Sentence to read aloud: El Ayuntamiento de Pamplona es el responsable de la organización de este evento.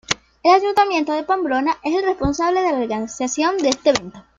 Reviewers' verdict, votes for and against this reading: accepted, 2, 1